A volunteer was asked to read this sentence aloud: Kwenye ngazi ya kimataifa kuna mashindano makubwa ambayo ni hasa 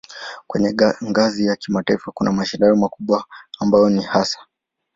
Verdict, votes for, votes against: accepted, 3, 1